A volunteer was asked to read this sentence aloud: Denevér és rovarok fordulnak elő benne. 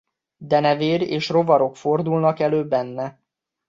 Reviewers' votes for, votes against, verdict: 2, 0, accepted